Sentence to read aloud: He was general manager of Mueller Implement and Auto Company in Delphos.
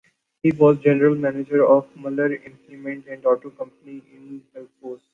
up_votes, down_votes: 2, 1